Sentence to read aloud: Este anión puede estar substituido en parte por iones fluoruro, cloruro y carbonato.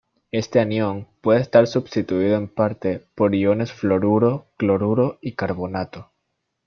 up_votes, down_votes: 0, 2